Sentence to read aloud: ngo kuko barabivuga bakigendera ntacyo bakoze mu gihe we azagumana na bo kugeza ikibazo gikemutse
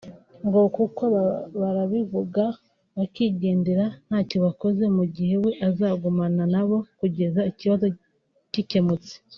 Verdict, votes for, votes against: rejected, 1, 2